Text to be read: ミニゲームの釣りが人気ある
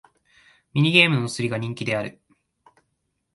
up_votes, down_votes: 1, 2